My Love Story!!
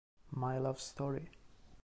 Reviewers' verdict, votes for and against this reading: accepted, 2, 1